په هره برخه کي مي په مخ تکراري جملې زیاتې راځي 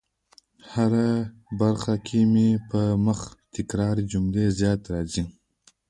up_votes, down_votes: 1, 2